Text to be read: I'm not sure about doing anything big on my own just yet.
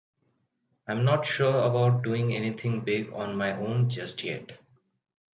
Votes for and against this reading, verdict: 2, 0, accepted